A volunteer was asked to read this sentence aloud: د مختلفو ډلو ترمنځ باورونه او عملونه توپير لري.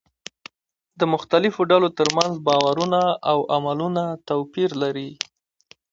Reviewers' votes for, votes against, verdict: 2, 1, accepted